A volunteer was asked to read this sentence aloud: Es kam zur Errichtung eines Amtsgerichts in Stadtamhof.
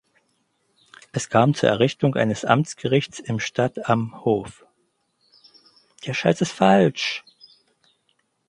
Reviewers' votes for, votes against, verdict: 0, 4, rejected